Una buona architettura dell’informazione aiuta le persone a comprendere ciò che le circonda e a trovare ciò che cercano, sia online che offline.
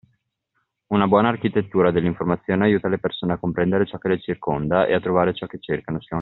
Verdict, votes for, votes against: rejected, 0, 2